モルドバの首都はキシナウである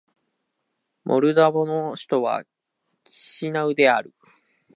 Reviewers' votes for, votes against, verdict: 1, 2, rejected